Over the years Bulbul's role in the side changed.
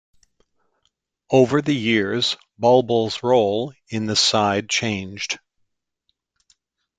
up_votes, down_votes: 2, 0